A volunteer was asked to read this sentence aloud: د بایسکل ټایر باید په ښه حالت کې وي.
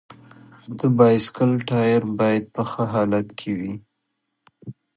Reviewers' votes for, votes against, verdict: 2, 0, accepted